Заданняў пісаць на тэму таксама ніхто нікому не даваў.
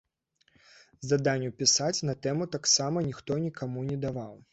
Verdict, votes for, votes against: rejected, 1, 2